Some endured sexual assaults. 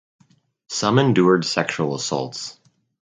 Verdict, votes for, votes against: accepted, 4, 0